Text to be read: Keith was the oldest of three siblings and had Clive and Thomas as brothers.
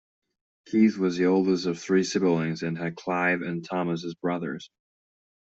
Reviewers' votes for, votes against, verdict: 1, 2, rejected